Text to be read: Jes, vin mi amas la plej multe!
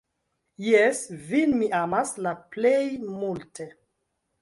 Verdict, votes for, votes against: accepted, 2, 0